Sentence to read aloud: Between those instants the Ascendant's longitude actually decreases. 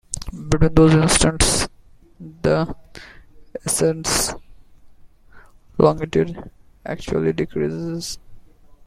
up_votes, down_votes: 1, 2